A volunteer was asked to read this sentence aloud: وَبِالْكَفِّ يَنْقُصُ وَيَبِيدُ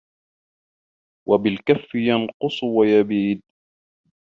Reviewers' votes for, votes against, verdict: 1, 2, rejected